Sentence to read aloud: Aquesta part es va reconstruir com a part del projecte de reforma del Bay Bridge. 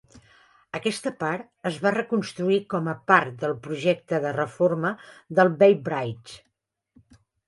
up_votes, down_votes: 0, 2